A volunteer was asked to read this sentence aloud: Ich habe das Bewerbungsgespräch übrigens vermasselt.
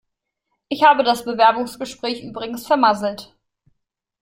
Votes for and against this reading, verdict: 2, 0, accepted